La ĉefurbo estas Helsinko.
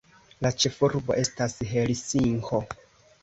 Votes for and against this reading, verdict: 3, 0, accepted